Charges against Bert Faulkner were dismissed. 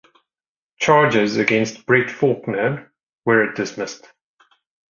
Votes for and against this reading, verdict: 2, 0, accepted